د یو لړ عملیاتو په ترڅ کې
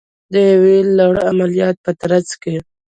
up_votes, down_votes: 1, 2